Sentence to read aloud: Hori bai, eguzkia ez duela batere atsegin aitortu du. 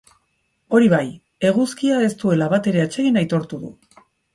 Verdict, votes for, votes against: accepted, 4, 0